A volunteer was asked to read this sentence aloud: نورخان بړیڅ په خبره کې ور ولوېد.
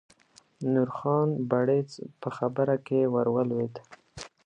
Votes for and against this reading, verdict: 2, 0, accepted